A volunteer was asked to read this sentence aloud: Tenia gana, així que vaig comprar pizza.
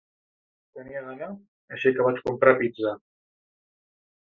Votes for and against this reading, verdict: 3, 2, accepted